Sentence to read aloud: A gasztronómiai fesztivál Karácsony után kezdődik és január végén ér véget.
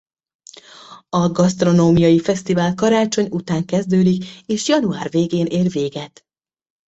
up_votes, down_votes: 2, 0